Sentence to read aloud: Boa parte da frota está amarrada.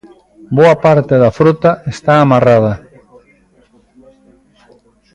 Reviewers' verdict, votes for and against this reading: accepted, 3, 0